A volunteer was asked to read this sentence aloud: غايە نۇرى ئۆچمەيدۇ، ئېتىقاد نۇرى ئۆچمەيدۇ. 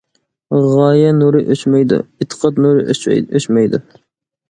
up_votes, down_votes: 2, 1